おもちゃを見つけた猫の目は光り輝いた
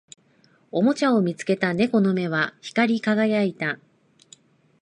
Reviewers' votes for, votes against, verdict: 2, 0, accepted